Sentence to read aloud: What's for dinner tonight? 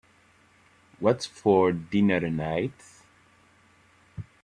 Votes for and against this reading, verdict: 3, 6, rejected